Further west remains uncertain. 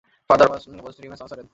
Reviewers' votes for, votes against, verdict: 0, 2, rejected